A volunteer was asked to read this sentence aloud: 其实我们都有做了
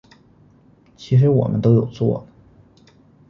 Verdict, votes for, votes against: accepted, 2, 0